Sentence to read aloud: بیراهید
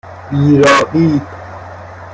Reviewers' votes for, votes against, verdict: 1, 2, rejected